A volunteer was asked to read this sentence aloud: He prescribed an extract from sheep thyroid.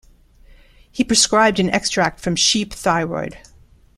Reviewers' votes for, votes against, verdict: 2, 0, accepted